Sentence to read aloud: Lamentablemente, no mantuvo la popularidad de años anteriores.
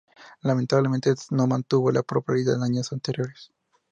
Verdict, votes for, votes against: rejected, 0, 2